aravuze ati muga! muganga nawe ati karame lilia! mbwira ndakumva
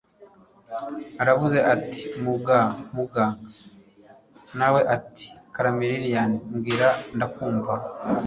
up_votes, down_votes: 1, 2